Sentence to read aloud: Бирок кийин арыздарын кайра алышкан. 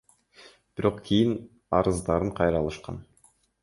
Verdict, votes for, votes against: accepted, 2, 0